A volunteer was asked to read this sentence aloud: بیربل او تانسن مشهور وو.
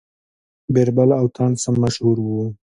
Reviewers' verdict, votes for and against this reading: accepted, 2, 0